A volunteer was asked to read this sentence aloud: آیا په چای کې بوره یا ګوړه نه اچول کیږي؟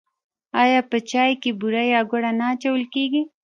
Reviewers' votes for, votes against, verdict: 0, 2, rejected